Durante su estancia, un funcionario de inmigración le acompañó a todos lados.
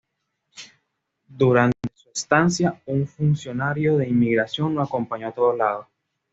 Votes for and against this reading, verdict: 2, 1, accepted